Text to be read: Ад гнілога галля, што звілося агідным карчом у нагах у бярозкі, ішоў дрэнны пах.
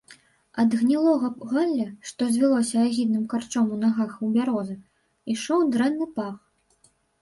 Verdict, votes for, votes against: rejected, 1, 2